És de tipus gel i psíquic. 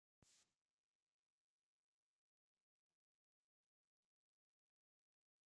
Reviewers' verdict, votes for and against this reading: rejected, 0, 2